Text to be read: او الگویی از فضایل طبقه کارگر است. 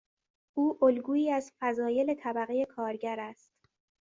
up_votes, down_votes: 2, 0